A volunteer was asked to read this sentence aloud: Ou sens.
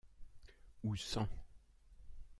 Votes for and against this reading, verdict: 1, 2, rejected